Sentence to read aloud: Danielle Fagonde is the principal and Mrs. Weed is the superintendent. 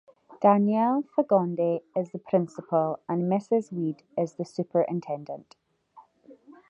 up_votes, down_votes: 2, 0